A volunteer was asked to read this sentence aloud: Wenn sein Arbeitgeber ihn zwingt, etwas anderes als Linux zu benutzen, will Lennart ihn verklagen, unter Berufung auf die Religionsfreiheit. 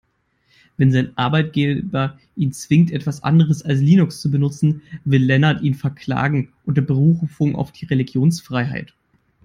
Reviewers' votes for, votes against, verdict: 2, 3, rejected